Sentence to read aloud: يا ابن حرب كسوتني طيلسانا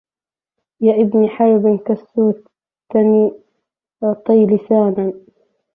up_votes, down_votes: 0, 2